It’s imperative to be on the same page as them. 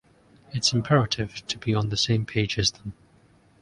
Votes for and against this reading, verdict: 1, 2, rejected